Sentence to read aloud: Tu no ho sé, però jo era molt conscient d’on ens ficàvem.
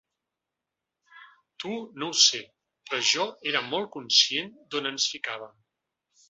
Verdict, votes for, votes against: accepted, 2, 0